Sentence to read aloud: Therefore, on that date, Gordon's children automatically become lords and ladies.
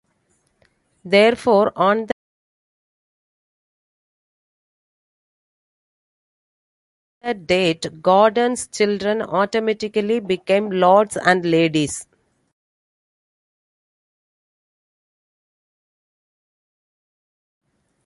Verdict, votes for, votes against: rejected, 0, 3